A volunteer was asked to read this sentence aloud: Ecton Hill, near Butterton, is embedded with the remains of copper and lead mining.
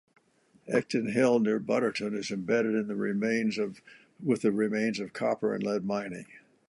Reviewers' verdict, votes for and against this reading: rejected, 0, 2